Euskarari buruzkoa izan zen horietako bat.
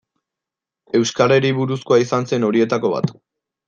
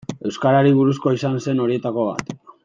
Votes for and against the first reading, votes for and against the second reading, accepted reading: 2, 0, 1, 2, first